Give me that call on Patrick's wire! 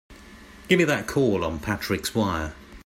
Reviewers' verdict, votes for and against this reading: accepted, 2, 0